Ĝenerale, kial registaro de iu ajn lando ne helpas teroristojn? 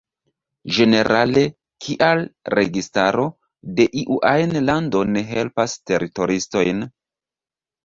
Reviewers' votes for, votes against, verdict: 0, 2, rejected